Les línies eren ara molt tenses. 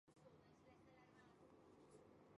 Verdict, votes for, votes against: rejected, 0, 3